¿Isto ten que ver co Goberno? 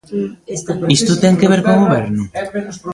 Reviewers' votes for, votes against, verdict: 1, 2, rejected